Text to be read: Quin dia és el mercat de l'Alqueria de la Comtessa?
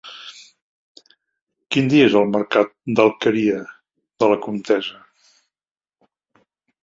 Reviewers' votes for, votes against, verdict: 1, 2, rejected